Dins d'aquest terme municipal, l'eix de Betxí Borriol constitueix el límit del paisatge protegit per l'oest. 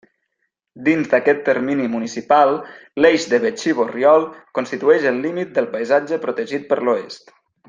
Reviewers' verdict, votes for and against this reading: rejected, 0, 2